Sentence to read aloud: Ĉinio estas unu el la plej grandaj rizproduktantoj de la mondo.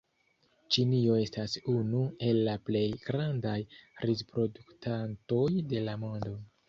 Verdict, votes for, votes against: accepted, 2, 0